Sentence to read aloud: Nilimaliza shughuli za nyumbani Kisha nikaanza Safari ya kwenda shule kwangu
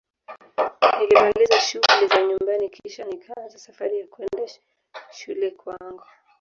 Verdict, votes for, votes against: rejected, 0, 2